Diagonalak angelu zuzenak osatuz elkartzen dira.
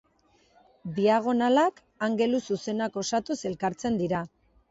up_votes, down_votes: 2, 0